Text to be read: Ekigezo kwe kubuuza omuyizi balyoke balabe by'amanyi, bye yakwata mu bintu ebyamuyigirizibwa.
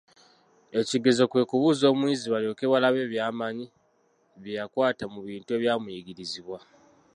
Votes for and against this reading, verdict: 1, 2, rejected